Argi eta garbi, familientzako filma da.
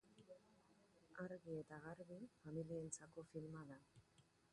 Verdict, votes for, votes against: rejected, 1, 2